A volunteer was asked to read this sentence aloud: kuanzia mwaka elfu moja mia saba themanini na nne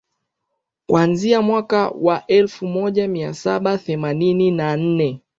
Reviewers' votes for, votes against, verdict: 2, 1, accepted